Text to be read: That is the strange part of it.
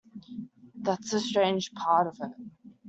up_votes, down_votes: 2, 1